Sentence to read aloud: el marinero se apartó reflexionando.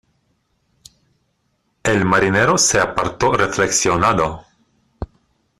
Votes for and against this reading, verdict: 0, 2, rejected